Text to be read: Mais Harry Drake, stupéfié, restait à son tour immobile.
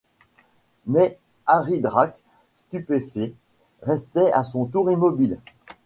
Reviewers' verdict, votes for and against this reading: rejected, 0, 2